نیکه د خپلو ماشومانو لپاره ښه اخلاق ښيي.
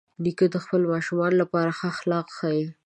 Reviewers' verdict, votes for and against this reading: accepted, 2, 0